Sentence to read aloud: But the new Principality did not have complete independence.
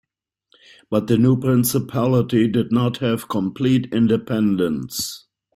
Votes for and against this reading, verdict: 1, 2, rejected